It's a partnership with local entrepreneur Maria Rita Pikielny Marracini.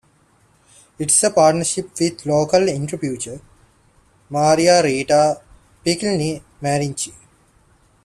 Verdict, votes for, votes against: rejected, 0, 2